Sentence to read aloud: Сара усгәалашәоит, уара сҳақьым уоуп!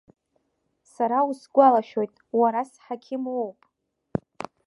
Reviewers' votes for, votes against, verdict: 2, 1, accepted